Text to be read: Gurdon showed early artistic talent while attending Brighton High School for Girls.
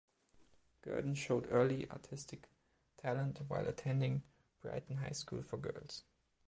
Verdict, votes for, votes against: accepted, 2, 0